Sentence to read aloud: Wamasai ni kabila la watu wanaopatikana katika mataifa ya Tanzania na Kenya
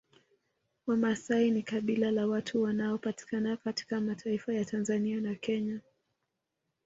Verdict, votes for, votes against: rejected, 1, 2